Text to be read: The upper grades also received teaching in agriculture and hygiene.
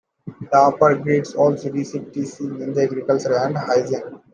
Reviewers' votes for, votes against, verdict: 1, 2, rejected